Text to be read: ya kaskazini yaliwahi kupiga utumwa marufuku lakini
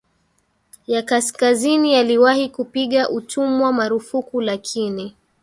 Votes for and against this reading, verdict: 1, 2, rejected